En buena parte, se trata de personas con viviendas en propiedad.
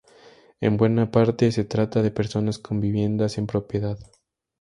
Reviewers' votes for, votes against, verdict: 0, 2, rejected